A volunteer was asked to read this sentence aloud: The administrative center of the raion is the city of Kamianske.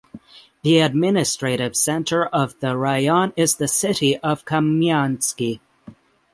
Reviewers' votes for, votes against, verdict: 3, 3, rejected